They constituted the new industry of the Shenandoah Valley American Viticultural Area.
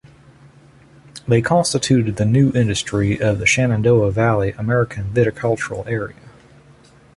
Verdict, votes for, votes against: accepted, 2, 0